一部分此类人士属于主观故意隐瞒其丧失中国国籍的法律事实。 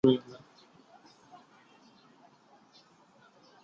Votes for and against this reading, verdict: 1, 5, rejected